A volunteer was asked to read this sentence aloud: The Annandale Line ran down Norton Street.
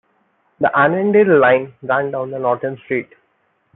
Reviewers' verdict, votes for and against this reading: accepted, 2, 0